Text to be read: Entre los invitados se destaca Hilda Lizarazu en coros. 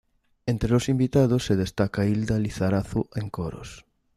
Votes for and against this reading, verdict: 2, 0, accepted